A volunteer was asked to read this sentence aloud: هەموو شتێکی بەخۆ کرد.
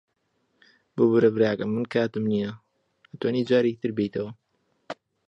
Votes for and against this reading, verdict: 0, 2, rejected